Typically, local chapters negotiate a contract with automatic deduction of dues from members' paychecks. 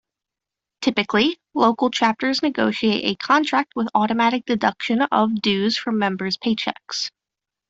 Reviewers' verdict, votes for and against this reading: accepted, 2, 0